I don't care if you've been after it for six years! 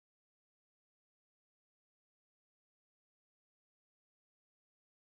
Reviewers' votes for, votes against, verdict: 0, 3, rejected